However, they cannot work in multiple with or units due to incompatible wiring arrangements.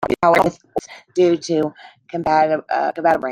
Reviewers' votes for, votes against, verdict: 0, 2, rejected